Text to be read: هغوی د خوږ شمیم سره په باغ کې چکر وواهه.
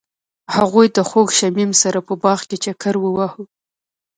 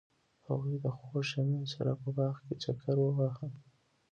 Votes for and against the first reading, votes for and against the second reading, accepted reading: 0, 2, 2, 1, second